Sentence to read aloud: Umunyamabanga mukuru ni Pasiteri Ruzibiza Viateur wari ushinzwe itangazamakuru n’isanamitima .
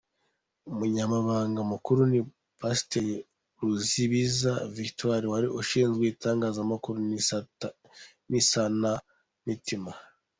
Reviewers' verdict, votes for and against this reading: rejected, 1, 2